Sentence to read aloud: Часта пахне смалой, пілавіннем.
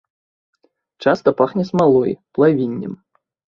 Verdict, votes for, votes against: rejected, 0, 2